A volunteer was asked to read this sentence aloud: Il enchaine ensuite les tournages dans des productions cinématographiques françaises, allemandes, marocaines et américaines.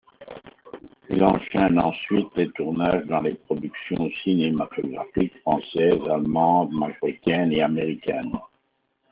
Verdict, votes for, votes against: accepted, 2, 0